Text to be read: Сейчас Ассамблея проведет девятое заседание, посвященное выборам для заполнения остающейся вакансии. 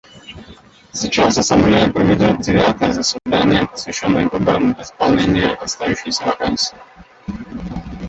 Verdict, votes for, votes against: rejected, 0, 2